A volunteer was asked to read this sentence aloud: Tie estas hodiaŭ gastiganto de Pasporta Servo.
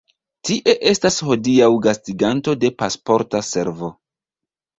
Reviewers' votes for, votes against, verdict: 2, 0, accepted